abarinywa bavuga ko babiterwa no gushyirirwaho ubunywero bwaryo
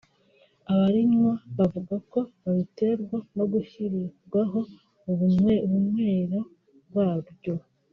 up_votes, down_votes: 0, 3